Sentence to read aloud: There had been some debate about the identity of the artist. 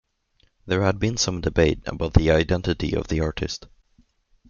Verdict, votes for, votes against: accepted, 3, 1